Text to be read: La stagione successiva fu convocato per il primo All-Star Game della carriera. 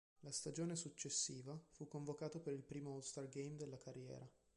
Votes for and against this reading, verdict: 3, 0, accepted